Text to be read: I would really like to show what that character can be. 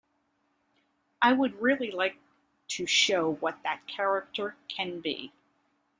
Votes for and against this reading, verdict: 2, 0, accepted